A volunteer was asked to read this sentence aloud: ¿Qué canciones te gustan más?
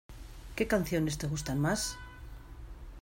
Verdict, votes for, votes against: accepted, 2, 0